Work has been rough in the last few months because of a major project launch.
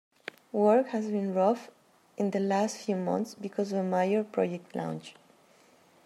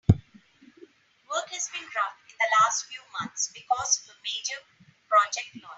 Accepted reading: second